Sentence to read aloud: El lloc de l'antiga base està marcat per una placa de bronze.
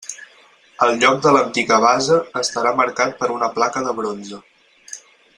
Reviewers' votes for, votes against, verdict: 0, 4, rejected